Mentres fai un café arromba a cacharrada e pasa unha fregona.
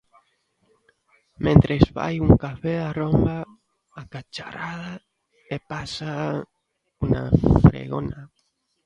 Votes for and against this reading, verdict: 0, 2, rejected